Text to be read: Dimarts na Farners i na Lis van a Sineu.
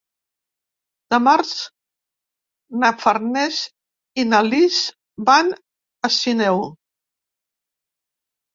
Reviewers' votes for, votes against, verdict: 0, 2, rejected